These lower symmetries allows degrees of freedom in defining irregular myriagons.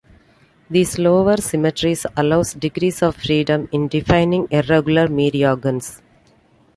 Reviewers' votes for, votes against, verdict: 1, 2, rejected